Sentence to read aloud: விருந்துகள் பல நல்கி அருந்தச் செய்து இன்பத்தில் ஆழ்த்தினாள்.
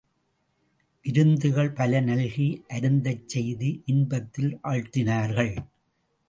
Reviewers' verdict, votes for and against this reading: rejected, 0, 2